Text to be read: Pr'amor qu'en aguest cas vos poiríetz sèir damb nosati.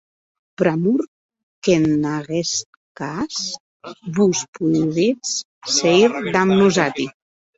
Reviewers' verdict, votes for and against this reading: rejected, 0, 2